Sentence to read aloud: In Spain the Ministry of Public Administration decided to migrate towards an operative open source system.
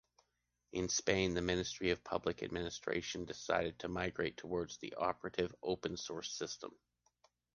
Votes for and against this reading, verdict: 2, 0, accepted